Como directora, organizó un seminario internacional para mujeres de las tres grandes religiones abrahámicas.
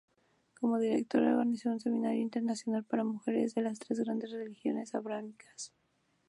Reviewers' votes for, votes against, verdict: 2, 2, rejected